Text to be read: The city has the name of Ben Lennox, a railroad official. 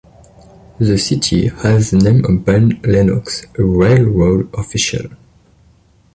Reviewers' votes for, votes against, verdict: 2, 1, accepted